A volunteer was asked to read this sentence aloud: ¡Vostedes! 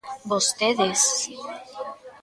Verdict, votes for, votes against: rejected, 0, 2